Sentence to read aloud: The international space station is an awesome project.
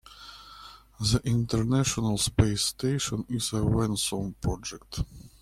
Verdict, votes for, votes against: rejected, 0, 2